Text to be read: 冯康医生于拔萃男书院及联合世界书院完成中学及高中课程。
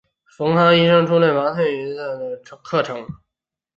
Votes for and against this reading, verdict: 5, 3, accepted